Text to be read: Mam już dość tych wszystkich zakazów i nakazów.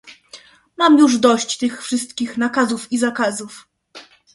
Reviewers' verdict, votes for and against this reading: rejected, 0, 2